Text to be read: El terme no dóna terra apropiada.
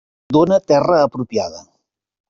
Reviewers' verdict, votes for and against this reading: rejected, 0, 2